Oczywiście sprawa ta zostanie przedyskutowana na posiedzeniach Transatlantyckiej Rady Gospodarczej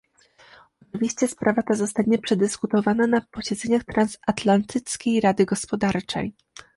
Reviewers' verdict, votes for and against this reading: accepted, 2, 0